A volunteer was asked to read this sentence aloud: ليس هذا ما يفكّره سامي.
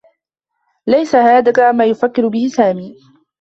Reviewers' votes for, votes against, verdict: 2, 0, accepted